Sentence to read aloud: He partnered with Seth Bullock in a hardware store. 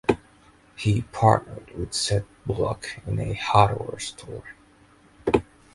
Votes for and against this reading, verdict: 0, 2, rejected